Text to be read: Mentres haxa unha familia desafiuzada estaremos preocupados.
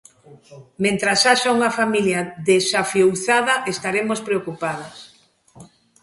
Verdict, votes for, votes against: accepted, 3, 2